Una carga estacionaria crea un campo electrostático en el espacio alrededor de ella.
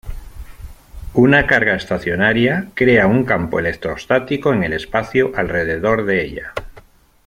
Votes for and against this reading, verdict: 1, 2, rejected